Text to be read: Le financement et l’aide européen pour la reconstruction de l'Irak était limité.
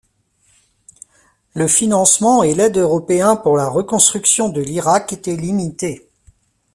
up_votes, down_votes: 2, 0